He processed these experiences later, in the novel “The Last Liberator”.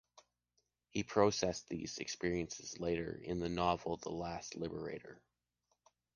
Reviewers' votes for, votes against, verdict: 2, 0, accepted